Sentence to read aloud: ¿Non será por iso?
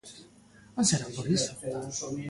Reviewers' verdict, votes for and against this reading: accepted, 2, 1